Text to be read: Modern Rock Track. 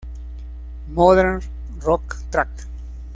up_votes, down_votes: 0, 2